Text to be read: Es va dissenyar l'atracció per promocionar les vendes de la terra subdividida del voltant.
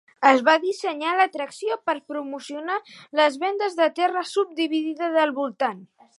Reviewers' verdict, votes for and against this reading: rejected, 1, 2